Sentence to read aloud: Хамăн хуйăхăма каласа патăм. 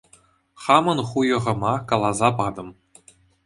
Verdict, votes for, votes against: accepted, 2, 0